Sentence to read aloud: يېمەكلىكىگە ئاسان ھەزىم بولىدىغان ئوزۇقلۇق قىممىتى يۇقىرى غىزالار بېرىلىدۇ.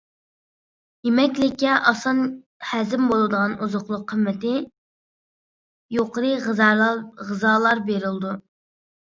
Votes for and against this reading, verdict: 0, 2, rejected